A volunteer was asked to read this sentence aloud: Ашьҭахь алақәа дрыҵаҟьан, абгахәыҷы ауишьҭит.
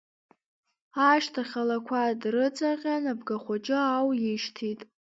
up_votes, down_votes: 2, 0